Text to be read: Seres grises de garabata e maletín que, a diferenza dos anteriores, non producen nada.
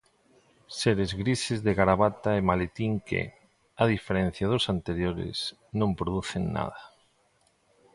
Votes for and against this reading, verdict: 0, 2, rejected